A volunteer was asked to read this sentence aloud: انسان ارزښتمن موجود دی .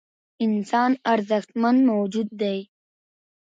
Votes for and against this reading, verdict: 2, 0, accepted